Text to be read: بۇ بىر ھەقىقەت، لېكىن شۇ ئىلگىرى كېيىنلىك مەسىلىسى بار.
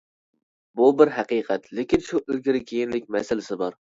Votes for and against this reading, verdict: 2, 0, accepted